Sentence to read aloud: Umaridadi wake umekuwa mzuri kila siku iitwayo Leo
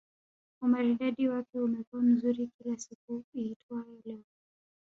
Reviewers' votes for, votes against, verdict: 0, 2, rejected